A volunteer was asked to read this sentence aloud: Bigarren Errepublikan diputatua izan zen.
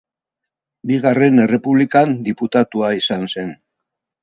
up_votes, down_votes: 0, 2